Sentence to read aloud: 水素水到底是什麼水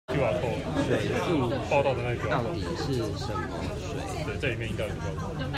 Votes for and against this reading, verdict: 0, 2, rejected